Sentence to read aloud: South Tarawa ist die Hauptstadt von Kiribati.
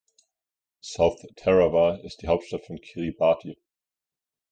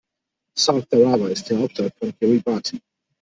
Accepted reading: first